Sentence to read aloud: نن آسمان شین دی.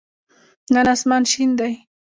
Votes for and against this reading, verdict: 1, 2, rejected